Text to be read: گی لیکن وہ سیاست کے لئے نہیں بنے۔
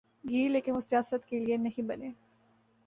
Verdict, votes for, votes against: accepted, 2, 0